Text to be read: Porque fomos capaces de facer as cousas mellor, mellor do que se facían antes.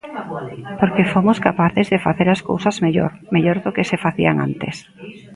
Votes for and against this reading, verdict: 1, 2, rejected